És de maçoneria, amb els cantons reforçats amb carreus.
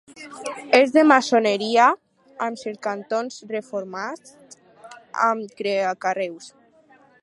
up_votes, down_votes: 0, 4